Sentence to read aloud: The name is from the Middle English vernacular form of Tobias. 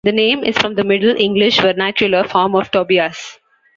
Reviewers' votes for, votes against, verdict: 0, 2, rejected